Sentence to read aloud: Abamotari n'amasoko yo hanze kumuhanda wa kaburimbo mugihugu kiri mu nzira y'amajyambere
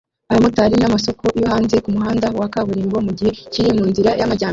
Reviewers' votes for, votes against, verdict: 0, 2, rejected